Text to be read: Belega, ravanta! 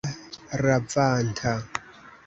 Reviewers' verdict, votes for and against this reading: rejected, 0, 2